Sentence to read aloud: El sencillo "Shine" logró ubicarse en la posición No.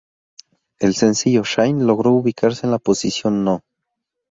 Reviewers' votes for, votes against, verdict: 0, 2, rejected